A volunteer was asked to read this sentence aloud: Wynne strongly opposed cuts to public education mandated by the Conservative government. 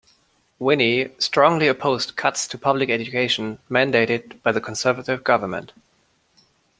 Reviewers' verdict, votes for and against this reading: accepted, 2, 1